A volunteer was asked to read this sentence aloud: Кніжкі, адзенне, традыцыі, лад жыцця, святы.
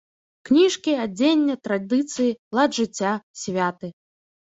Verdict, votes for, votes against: accepted, 2, 0